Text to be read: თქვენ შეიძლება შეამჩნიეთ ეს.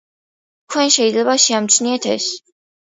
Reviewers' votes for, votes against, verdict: 2, 0, accepted